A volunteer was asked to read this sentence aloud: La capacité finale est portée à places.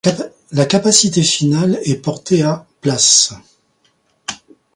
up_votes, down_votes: 1, 2